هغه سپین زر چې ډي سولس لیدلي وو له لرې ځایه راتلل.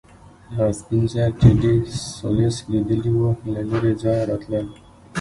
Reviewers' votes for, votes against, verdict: 0, 2, rejected